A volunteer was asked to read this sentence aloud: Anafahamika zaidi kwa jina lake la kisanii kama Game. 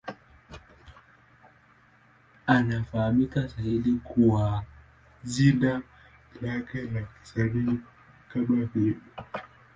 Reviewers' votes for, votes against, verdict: 0, 2, rejected